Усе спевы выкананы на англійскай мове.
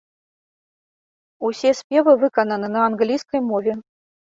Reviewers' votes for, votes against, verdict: 2, 0, accepted